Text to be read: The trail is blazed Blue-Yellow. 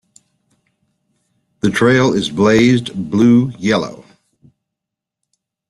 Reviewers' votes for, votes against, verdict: 2, 0, accepted